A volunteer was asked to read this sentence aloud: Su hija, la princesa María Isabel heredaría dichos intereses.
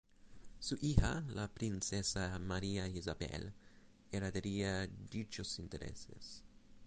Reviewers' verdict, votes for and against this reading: rejected, 0, 4